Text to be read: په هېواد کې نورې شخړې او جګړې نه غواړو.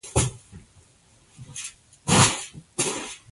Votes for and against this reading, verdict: 1, 2, rejected